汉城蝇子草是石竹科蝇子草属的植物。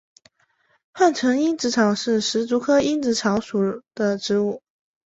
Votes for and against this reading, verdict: 2, 0, accepted